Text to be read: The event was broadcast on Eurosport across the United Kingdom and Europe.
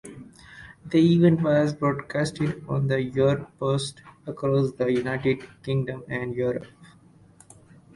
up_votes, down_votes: 2, 4